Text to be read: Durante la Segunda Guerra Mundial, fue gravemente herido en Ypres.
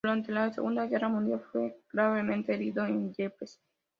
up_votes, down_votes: 2, 0